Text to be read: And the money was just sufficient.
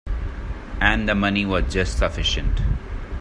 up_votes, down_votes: 2, 0